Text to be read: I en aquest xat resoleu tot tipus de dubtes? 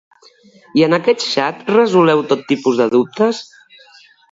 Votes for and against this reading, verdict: 2, 0, accepted